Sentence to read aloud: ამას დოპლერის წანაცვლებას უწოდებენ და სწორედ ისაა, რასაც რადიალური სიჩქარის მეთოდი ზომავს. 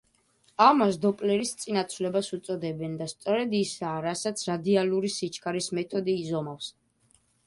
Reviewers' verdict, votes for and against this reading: rejected, 0, 2